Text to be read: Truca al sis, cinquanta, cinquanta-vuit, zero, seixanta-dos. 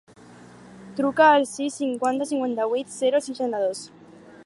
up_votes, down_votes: 4, 0